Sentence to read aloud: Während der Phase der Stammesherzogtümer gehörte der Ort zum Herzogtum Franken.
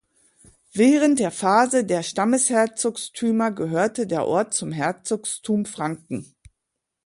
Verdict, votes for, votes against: rejected, 0, 2